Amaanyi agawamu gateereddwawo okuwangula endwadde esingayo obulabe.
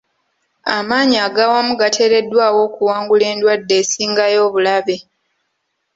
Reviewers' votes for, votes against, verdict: 2, 0, accepted